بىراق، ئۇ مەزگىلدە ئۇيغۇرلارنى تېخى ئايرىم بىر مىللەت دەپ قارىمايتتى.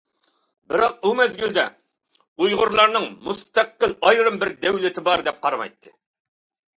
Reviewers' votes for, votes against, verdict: 0, 2, rejected